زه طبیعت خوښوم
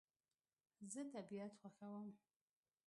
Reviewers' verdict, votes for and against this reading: rejected, 0, 2